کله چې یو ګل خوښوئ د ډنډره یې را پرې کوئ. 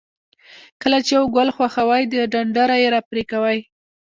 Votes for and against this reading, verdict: 2, 1, accepted